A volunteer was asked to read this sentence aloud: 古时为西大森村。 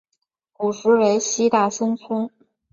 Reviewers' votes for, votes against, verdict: 8, 0, accepted